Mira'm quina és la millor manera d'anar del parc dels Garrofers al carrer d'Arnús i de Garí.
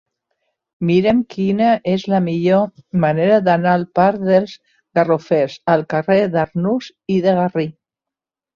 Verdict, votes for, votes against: rejected, 0, 2